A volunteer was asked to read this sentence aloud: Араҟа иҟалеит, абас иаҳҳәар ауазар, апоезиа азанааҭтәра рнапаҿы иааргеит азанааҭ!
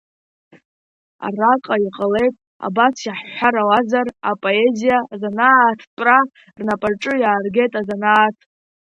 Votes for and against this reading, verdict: 1, 3, rejected